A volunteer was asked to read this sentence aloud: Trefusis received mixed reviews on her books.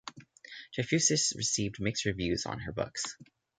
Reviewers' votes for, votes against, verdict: 2, 0, accepted